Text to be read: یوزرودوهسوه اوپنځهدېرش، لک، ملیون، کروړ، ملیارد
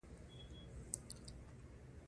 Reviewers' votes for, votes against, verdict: 1, 2, rejected